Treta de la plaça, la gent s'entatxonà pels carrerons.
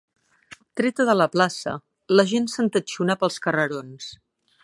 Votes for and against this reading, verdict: 4, 0, accepted